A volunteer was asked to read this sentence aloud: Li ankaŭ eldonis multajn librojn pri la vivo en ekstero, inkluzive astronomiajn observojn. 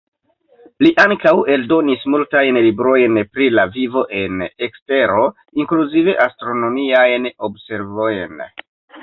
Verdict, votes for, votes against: rejected, 1, 2